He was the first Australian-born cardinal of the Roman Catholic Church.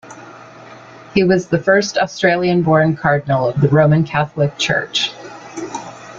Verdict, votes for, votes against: accepted, 2, 0